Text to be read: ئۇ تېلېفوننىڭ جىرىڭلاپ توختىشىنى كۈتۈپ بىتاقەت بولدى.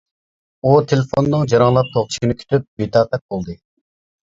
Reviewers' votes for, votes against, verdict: 0, 2, rejected